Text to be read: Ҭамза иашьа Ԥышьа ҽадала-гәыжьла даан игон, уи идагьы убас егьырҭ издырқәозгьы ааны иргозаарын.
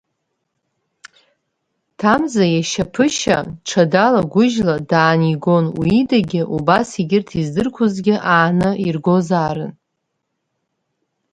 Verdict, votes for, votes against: accepted, 3, 0